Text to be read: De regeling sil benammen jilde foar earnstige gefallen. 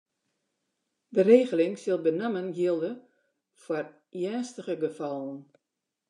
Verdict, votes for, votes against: accepted, 2, 0